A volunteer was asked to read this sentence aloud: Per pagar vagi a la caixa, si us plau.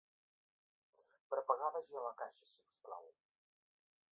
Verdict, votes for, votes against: rejected, 1, 2